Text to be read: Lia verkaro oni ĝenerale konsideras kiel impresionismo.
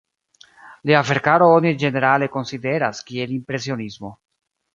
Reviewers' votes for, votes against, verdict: 2, 1, accepted